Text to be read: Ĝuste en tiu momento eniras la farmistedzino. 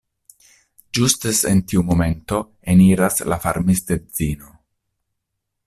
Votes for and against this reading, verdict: 0, 2, rejected